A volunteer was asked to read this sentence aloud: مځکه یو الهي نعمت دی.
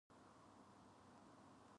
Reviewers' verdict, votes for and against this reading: rejected, 1, 2